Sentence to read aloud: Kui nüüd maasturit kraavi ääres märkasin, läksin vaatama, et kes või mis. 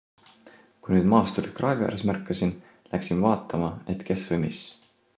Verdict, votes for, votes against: accepted, 2, 0